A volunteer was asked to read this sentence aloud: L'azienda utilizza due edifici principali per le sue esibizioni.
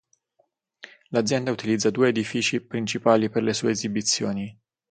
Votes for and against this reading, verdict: 6, 0, accepted